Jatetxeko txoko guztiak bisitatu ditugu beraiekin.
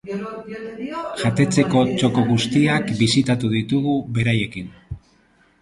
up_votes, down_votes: 0, 2